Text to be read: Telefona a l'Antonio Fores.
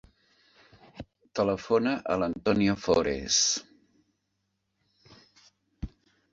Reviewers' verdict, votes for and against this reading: accepted, 2, 0